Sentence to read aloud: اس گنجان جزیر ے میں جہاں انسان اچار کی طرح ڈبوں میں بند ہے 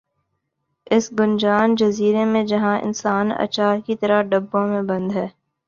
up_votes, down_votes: 3, 0